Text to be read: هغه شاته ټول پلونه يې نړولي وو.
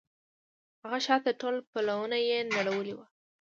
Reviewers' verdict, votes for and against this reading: rejected, 1, 2